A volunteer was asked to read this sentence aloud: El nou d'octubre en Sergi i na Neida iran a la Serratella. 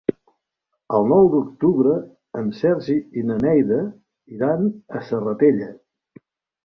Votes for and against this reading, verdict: 1, 2, rejected